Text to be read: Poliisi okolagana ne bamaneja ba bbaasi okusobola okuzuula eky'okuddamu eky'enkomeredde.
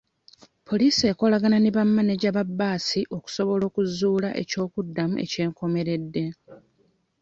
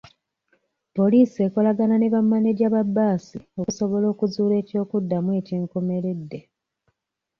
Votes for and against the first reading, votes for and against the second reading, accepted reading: 2, 0, 1, 2, first